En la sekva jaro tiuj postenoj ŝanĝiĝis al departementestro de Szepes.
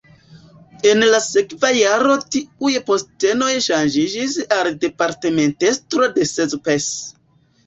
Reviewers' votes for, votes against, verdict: 2, 0, accepted